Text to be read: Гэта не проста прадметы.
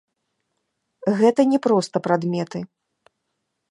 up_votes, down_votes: 2, 0